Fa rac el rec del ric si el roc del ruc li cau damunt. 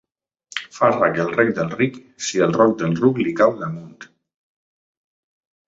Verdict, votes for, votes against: accepted, 2, 0